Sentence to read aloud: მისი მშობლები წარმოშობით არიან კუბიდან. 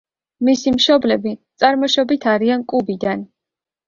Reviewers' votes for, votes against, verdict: 2, 0, accepted